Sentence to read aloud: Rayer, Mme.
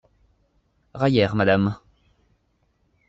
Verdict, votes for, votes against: rejected, 0, 2